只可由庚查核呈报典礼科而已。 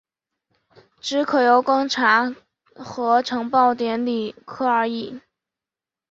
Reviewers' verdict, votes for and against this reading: accepted, 5, 1